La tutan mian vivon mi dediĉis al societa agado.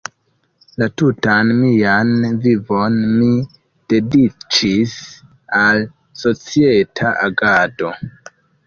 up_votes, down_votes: 2, 1